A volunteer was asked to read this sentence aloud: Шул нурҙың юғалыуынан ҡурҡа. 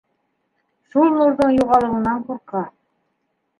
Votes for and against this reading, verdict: 1, 2, rejected